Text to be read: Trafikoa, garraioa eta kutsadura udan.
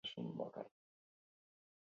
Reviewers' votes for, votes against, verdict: 0, 4, rejected